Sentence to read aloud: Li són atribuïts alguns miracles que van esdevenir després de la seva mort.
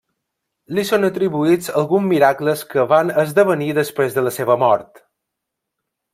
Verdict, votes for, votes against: rejected, 1, 2